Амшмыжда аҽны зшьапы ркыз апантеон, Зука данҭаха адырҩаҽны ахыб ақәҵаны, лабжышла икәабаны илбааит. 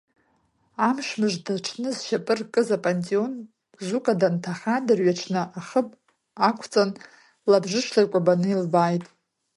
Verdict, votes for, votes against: rejected, 1, 2